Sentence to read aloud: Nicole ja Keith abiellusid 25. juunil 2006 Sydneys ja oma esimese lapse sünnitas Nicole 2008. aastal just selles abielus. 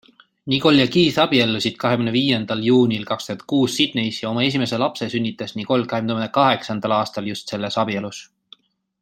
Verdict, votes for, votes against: rejected, 0, 2